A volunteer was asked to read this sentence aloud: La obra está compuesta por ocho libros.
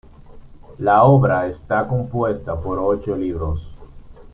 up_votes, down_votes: 2, 0